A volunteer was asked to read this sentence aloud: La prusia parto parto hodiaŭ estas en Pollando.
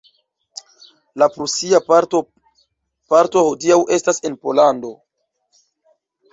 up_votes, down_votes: 1, 2